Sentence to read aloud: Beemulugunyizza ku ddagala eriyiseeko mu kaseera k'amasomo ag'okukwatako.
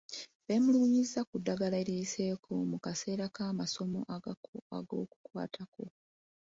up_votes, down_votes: 1, 2